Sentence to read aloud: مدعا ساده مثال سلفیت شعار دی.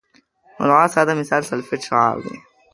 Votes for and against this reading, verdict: 1, 2, rejected